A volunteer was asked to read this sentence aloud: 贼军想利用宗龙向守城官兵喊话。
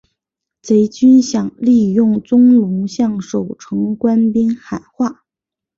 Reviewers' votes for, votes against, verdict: 3, 0, accepted